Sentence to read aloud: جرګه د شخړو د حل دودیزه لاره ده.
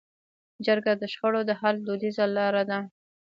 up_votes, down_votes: 1, 2